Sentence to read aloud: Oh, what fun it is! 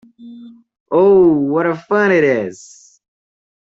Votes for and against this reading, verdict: 0, 2, rejected